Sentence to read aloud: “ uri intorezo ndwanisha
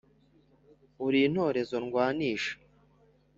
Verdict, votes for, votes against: accepted, 2, 0